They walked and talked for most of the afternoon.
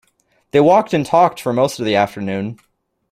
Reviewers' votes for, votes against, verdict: 2, 0, accepted